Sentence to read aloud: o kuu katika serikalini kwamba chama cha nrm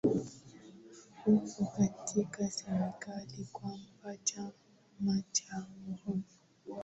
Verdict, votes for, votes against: rejected, 1, 3